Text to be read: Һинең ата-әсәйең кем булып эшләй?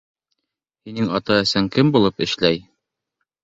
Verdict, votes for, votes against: rejected, 0, 2